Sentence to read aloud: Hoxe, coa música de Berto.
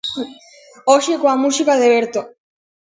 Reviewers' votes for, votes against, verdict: 2, 0, accepted